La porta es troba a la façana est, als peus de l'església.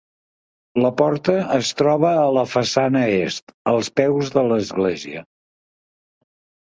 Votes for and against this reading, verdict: 2, 0, accepted